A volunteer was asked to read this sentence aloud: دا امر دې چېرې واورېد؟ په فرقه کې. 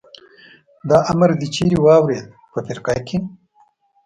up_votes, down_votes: 2, 0